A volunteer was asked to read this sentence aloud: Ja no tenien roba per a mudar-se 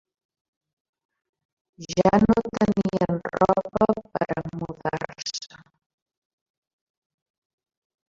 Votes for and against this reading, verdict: 1, 2, rejected